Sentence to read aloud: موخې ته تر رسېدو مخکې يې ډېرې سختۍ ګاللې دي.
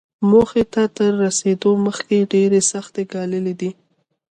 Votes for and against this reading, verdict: 3, 1, accepted